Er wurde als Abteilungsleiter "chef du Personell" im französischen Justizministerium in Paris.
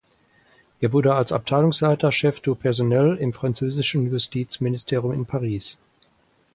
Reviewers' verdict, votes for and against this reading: rejected, 0, 4